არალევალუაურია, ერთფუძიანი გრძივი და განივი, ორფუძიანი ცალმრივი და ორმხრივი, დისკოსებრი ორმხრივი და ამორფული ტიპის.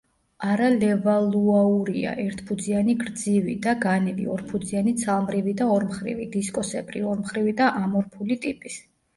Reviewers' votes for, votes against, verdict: 1, 2, rejected